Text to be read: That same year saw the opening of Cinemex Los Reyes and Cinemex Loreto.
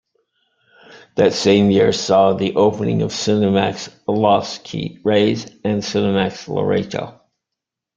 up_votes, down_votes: 0, 2